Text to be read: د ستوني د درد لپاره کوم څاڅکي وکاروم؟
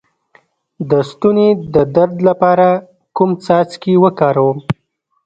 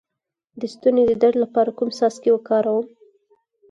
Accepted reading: second